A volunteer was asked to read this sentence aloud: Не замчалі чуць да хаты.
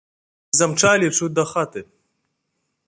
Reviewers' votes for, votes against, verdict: 1, 2, rejected